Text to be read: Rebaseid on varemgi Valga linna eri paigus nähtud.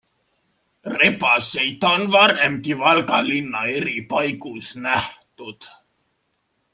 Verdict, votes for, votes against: accepted, 2, 0